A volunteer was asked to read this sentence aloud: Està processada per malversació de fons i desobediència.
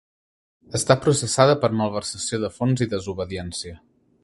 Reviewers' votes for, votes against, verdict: 3, 0, accepted